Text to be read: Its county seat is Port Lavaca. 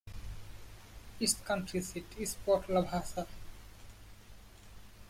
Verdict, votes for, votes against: rejected, 0, 2